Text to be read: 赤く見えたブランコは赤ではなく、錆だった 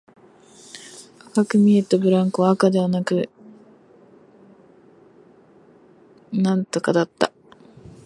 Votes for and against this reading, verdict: 3, 9, rejected